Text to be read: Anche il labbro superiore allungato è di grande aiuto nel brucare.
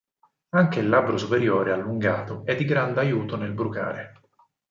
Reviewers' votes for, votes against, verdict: 4, 0, accepted